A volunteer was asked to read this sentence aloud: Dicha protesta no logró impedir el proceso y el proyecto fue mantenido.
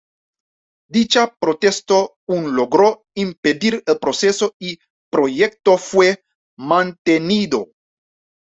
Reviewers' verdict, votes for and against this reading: rejected, 1, 2